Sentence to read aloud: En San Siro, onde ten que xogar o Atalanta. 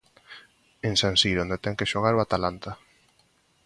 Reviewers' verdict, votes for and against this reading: accepted, 2, 0